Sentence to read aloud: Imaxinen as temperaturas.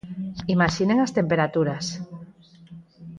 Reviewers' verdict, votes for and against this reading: accepted, 4, 0